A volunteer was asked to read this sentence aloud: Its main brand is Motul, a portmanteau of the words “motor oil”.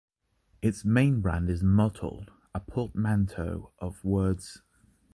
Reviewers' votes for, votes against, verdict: 1, 2, rejected